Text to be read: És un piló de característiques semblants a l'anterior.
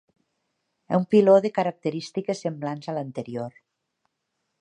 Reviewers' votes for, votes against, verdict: 1, 2, rejected